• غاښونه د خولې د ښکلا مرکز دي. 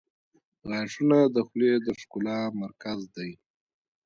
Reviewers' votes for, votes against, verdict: 0, 2, rejected